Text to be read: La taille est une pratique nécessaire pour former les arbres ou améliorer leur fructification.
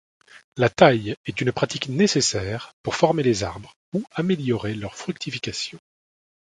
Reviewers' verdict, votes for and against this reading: accepted, 2, 0